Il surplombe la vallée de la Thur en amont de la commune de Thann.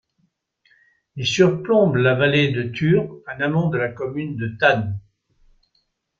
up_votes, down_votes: 0, 2